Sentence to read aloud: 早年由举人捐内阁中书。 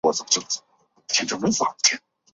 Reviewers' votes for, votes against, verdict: 0, 3, rejected